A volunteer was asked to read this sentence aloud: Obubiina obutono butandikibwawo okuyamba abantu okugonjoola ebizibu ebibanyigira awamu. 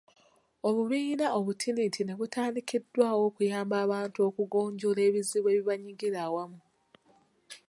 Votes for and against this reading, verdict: 0, 2, rejected